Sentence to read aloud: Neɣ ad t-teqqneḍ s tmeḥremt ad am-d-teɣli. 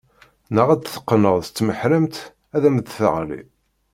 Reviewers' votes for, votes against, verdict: 2, 0, accepted